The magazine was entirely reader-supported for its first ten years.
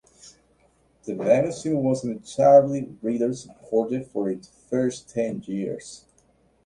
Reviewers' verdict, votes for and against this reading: accepted, 2, 0